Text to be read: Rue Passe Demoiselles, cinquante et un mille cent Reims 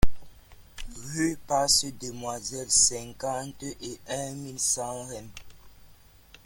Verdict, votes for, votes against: rejected, 0, 2